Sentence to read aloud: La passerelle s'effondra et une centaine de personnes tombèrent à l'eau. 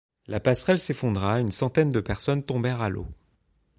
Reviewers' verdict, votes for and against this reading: accepted, 2, 0